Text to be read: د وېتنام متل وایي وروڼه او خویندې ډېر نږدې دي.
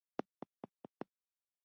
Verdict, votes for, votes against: rejected, 0, 2